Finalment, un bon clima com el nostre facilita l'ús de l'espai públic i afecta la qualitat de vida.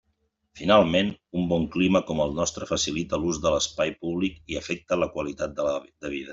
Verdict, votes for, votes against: rejected, 0, 2